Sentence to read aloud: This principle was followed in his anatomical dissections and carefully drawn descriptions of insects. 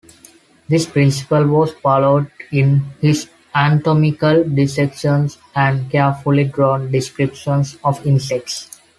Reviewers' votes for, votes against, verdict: 2, 0, accepted